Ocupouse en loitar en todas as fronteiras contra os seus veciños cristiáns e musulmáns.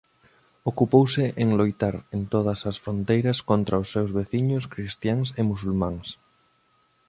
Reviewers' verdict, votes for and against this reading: accepted, 2, 0